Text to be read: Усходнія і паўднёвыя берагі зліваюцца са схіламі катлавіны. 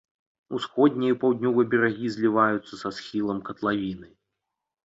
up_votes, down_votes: 0, 2